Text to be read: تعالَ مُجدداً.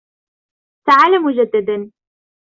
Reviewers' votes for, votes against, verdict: 2, 0, accepted